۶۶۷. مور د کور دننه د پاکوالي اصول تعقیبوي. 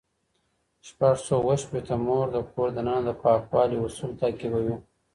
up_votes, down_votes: 0, 2